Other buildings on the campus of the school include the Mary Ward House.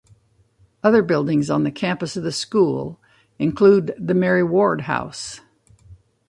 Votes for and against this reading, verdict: 2, 0, accepted